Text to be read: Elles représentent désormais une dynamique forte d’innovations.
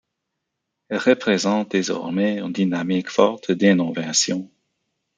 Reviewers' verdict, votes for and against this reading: rejected, 1, 2